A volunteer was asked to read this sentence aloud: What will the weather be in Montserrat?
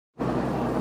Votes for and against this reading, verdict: 0, 2, rejected